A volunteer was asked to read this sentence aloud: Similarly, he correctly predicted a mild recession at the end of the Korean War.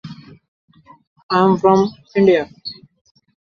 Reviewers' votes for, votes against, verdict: 0, 2, rejected